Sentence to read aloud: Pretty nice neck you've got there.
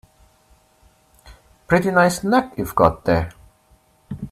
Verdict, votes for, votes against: accepted, 2, 0